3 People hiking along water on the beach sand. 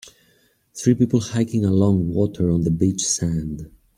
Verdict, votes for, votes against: rejected, 0, 2